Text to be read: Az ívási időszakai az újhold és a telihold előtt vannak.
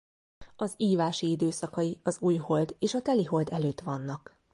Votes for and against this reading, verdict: 2, 0, accepted